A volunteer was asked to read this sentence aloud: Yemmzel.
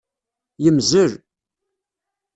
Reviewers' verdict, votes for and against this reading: accepted, 2, 0